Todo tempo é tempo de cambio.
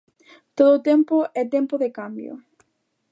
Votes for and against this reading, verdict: 2, 0, accepted